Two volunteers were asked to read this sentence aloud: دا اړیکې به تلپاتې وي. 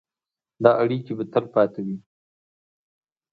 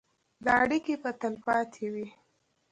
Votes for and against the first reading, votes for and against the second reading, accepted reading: 2, 0, 1, 2, first